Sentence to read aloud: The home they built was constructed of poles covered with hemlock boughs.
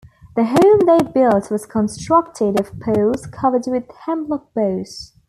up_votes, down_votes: 1, 2